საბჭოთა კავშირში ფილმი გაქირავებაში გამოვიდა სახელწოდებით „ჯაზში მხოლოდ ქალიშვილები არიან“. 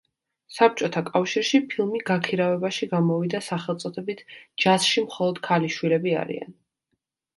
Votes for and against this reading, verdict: 2, 0, accepted